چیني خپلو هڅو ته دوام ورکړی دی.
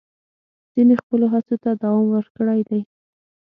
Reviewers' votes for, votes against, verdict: 3, 6, rejected